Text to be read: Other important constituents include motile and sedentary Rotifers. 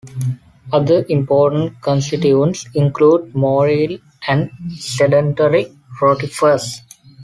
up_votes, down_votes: 2, 0